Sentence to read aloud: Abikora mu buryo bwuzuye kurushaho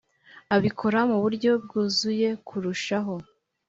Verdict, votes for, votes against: accepted, 2, 0